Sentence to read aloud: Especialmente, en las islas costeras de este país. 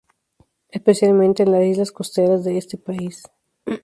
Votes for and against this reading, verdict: 0, 2, rejected